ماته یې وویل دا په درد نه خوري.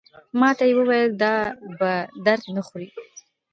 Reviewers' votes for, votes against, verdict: 2, 0, accepted